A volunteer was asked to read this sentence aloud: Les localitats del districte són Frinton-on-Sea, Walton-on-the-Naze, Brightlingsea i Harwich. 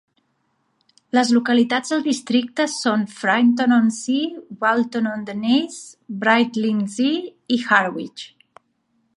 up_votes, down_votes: 4, 0